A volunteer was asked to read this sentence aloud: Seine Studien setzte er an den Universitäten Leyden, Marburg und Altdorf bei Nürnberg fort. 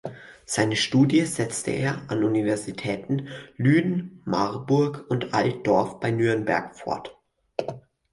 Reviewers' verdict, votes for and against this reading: rejected, 0, 4